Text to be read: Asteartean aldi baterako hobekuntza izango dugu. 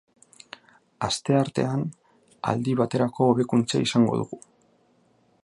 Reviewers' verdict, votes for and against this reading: rejected, 1, 2